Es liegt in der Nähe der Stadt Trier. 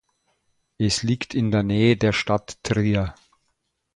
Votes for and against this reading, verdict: 4, 0, accepted